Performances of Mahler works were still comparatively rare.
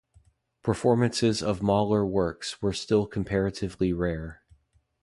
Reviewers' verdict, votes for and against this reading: accepted, 2, 0